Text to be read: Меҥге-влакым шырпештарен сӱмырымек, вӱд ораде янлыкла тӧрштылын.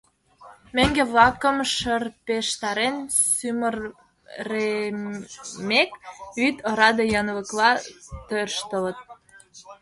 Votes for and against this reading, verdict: 1, 2, rejected